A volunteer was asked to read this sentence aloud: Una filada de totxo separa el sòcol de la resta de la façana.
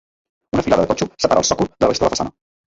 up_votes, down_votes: 0, 2